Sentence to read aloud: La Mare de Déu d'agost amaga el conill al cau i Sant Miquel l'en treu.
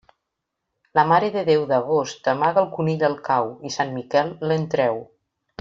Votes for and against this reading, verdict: 0, 2, rejected